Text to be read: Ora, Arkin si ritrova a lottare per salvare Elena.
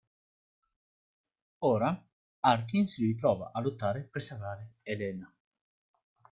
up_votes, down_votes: 2, 1